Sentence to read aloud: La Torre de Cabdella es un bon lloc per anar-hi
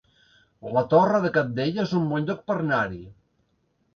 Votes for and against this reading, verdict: 1, 2, rejected